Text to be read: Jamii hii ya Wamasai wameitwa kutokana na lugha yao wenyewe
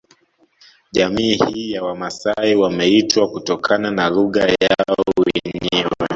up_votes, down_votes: 0, 2